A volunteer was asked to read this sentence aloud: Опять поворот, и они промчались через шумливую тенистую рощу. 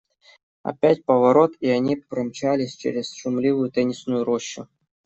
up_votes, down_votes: 0, 2